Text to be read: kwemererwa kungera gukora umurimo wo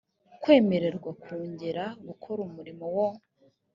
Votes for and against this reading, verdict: 2, 0, accepted